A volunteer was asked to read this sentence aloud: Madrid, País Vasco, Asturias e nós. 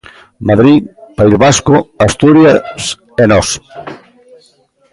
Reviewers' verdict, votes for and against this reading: rejected, 0, 2